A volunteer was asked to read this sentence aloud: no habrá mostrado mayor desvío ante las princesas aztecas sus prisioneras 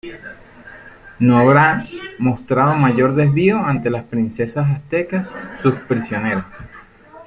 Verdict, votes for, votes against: rejected, 0, 2